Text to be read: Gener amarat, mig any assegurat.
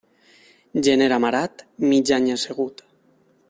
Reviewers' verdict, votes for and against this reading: rejected, 0, 2